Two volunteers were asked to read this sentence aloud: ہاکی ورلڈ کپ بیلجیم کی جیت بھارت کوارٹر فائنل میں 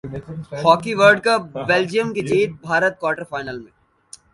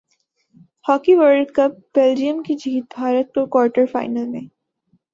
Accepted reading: second